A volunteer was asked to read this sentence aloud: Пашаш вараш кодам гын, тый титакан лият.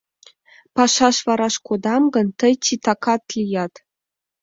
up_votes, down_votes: 1, 2